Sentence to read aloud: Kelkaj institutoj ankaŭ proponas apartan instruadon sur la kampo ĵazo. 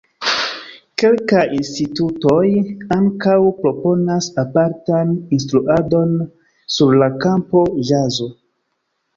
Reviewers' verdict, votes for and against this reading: rejected, 1, 2